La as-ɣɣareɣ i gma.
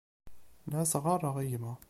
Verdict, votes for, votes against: accepted, 2, 0